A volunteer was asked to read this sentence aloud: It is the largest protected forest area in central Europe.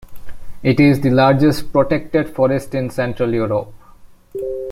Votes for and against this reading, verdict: 0, 2, rejected